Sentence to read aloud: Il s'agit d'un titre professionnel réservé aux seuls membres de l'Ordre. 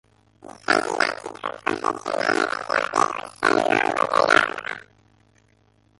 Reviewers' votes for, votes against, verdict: 0, 2, rejected